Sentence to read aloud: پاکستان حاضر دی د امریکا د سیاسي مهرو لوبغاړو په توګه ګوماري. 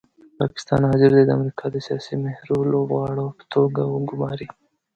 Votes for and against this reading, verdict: 0, 2, rejected